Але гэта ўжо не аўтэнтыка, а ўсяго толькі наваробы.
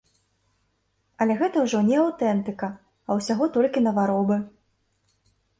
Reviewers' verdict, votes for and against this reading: accepted, 2, 0